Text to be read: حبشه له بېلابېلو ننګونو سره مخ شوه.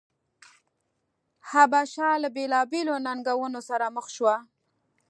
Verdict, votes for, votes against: accepted, 3, 0